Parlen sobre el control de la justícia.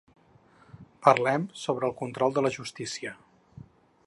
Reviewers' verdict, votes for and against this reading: rejected, 0, 4